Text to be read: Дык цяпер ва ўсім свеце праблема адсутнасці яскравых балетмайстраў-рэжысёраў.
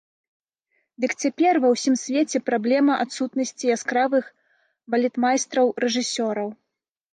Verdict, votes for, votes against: accepted, 2, 0